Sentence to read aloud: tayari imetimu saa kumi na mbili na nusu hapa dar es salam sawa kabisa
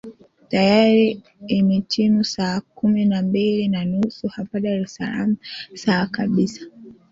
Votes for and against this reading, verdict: 3, 1, accepted